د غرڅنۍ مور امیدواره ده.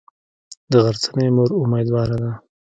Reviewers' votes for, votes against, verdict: 1, 2, rejected